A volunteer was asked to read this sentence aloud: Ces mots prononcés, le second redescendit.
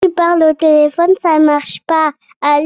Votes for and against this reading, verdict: 0, 2, rejected